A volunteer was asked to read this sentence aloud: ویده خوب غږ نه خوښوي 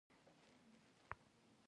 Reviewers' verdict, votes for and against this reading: rejected, 1, 2